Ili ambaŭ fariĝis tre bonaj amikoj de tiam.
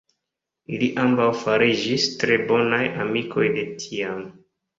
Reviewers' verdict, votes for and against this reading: rejected, 0, 2